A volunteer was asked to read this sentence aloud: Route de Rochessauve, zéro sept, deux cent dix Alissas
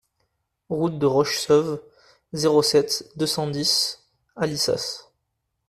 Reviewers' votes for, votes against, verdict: 2, 0, accepted